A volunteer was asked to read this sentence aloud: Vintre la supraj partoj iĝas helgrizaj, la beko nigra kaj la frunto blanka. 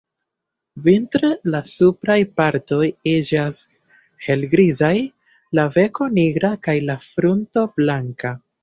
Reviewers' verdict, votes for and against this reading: accepted, 2, 0